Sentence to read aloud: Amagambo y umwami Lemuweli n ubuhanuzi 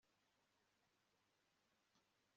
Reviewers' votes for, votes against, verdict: 1, 2, rejected